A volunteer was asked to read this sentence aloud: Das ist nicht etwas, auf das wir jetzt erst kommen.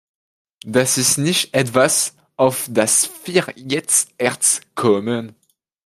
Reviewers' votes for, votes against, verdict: 2, 1, accepted